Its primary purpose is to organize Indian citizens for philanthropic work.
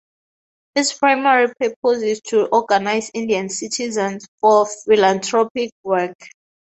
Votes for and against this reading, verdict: 4, 2, accepted